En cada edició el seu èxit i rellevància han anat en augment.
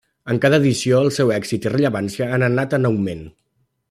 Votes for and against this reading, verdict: 3, 0, accepted